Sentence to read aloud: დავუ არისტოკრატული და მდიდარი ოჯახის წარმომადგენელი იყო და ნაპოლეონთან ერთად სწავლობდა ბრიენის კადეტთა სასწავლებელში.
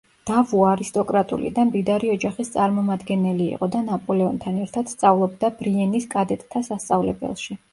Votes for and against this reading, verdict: 2, 0, accepted